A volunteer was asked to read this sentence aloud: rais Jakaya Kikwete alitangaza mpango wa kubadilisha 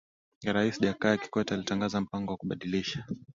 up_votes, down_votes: 2, 0